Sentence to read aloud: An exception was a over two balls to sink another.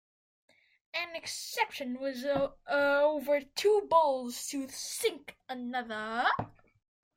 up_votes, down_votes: 0, 2